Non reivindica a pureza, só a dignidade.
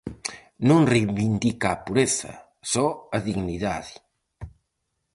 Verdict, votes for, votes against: accepted, 4, 0